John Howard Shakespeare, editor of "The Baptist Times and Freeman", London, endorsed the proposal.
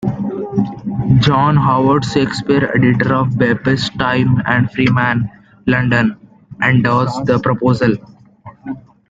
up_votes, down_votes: 1, 2